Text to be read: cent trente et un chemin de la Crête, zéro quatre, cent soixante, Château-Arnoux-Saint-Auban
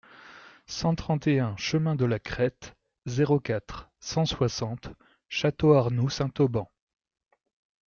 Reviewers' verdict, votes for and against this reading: accepted, 2, 0